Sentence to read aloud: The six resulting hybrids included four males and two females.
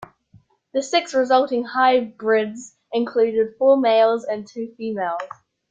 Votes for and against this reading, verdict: 2, 1, accepted